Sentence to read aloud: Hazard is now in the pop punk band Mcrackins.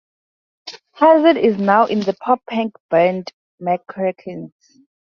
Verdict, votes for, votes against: accepted, 2, 0